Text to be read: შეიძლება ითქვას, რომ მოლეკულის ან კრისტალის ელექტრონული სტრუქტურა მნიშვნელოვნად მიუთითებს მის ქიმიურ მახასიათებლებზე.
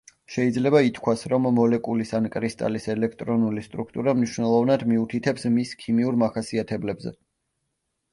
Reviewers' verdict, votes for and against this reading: accepted, 2, 1